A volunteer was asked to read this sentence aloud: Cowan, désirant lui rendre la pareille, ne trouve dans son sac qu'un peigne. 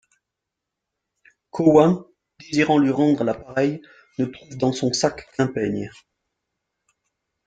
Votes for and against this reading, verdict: 0, 3, rejected